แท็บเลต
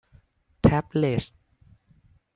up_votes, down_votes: 1, 2